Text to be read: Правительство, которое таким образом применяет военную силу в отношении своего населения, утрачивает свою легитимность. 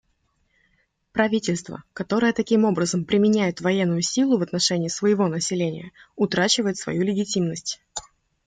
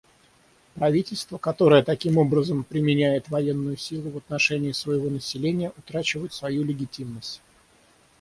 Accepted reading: first